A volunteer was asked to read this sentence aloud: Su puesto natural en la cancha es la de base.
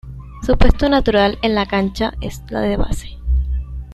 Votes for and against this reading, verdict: 2, 0, accepted